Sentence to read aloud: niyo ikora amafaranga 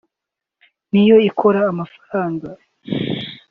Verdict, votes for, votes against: accepted, 2, 0